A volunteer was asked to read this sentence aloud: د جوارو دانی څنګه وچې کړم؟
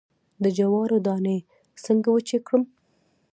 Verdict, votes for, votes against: rejected, 1, 2